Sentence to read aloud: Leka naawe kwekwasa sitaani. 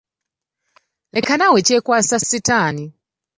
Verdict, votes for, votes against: rejected, 0, 2